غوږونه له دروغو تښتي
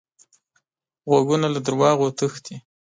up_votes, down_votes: 1, 2